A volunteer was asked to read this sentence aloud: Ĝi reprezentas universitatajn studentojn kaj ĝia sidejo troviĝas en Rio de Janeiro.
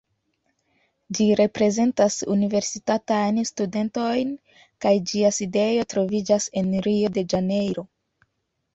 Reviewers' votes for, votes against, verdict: 2, 0, accepted